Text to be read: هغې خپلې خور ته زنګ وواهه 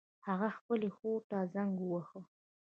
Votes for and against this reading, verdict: 2, 0, accepted